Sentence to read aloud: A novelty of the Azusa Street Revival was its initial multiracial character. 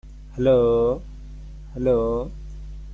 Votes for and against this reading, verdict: 0, 2, rejected